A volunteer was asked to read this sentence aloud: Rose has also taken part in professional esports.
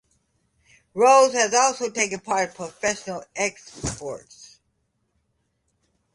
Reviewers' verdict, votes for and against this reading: rejected, 1, 2